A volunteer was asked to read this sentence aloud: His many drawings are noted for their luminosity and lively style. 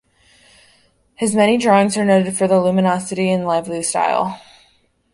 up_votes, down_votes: 2, 0